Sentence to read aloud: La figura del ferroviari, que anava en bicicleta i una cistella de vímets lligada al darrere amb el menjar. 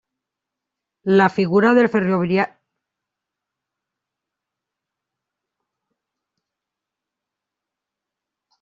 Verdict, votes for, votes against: rejected, 0, 2